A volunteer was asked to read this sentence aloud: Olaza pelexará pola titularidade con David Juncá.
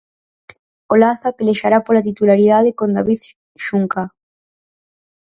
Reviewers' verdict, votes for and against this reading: rejected, 0, 4